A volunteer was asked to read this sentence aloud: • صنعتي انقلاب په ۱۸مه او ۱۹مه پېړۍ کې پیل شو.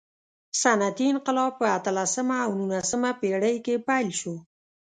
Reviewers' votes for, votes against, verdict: 0, 2, rejected